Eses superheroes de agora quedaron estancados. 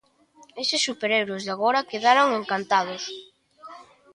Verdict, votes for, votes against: rejected, 1, 2